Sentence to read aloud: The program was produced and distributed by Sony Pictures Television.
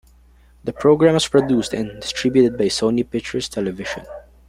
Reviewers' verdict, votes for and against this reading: rejected, 1, 2